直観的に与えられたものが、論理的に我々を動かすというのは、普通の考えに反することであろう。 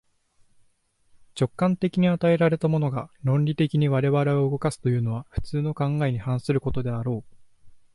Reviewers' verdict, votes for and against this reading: accepted, 2, 0